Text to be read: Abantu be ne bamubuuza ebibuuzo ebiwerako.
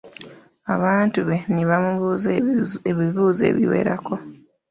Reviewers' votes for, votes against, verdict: 2, 0, accepted